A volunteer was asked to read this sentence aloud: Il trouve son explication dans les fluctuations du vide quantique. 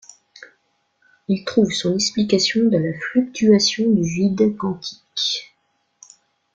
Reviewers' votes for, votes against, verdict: 2, 0, accepted